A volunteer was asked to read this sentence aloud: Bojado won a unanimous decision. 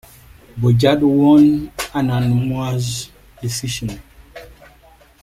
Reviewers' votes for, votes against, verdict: 2, 1, accepted